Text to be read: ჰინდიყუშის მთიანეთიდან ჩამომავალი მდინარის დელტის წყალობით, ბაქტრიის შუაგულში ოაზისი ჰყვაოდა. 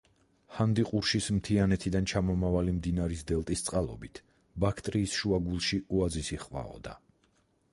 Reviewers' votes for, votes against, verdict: 2, 4, rejected